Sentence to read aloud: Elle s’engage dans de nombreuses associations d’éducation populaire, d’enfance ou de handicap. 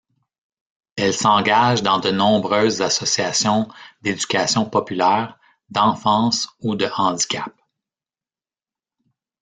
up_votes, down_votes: 1, 2